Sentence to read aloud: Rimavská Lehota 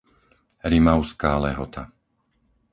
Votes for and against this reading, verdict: 4, 0, accepted